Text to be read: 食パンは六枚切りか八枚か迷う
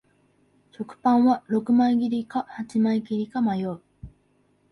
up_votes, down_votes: 1, 2